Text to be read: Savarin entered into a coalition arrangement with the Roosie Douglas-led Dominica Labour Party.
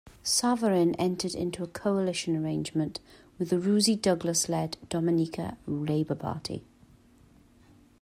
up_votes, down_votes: 2, 1